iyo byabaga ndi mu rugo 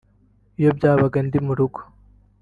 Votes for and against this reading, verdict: 2, 1, accepted